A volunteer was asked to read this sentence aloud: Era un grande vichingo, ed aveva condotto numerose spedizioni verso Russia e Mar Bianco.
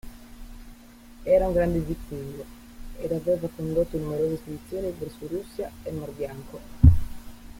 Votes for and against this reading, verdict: 0, 2, rejected